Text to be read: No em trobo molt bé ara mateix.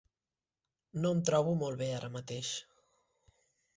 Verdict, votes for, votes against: accepted, 3, 0